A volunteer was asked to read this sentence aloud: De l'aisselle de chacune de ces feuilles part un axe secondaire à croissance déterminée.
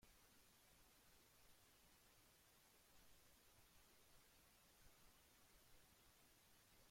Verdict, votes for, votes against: rejected, 0, 2